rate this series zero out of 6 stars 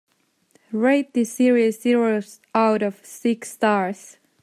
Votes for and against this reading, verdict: 0, 2, rejected